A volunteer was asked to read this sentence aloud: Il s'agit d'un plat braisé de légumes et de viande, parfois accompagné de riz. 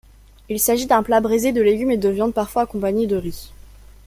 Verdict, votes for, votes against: rejected, 1, 2